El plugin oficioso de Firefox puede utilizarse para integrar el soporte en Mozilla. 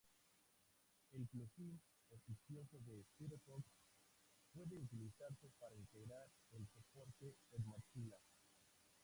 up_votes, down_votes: 0, 2